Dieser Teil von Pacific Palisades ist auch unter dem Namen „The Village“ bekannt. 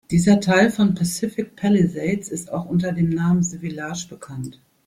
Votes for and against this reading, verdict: 0, 2, rejected